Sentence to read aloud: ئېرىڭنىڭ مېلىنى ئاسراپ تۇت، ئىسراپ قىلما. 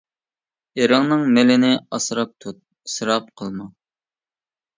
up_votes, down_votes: 2, 0